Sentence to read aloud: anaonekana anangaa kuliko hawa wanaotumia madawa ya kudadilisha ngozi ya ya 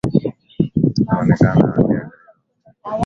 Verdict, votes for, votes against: rejected, 4, 16